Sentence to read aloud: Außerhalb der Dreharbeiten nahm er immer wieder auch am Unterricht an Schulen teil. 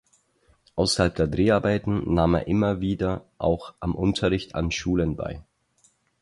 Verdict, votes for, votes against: rejected, 2, 4